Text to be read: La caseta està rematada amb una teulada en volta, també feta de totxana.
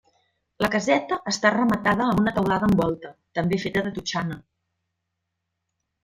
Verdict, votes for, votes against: accepted, 2, 0